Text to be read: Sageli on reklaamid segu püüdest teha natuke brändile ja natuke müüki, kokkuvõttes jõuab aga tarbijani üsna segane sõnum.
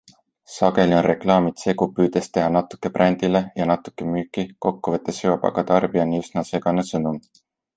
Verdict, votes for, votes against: accepted, 2, 0